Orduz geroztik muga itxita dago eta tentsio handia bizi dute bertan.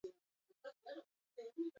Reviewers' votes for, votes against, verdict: 0, 4, rejected